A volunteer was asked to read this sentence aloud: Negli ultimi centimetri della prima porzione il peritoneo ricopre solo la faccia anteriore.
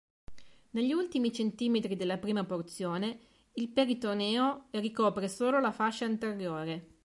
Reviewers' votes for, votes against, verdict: 1, 3, rejected